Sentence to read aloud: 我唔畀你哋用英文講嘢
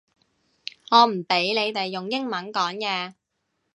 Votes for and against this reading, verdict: 2, 0, accepted